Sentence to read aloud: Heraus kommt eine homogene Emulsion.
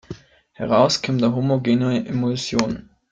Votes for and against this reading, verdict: 0, 2, rejected